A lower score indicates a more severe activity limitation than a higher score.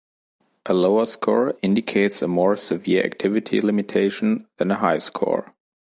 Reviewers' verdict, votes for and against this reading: accepted, 2, 0